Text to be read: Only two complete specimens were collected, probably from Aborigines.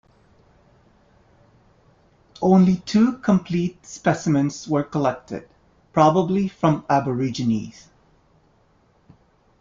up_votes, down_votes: 2, 0